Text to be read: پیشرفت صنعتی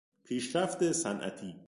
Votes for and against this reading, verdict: 0, 2, rejected